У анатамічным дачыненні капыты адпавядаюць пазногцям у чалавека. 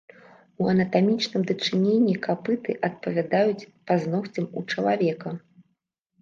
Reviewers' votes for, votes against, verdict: 0, 2, rejected